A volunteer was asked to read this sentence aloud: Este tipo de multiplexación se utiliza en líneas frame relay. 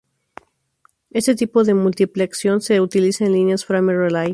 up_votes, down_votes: 2, 4